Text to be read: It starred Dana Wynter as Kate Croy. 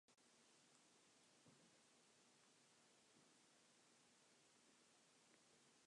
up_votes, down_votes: 0, 2